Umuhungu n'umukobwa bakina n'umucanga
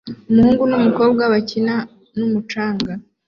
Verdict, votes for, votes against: accepted, 2, 0